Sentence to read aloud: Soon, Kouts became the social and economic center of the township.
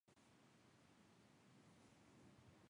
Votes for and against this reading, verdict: 0, 2, rejected